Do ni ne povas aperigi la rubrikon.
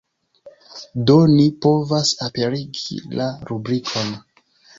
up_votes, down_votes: 0, 2